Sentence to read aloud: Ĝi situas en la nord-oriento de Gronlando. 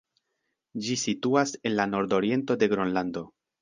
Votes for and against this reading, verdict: 2, 0, accepted